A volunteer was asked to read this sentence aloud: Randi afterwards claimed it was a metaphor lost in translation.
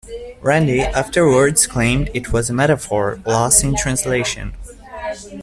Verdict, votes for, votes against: accepted, 2, 1